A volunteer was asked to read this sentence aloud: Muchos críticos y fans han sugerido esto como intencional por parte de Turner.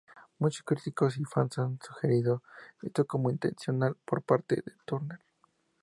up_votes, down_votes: 2, 0